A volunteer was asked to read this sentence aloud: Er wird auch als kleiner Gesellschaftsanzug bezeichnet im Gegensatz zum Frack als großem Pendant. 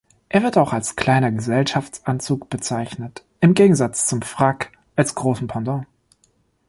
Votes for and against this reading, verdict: 2, 0, accepted